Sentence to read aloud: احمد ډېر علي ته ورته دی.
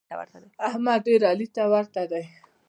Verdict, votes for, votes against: accepted, 2, 0